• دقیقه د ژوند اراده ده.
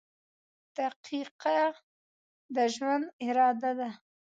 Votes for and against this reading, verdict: 2, 0, accepted